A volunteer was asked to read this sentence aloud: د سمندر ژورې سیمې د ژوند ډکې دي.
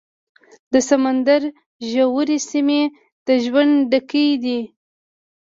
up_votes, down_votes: 2, 0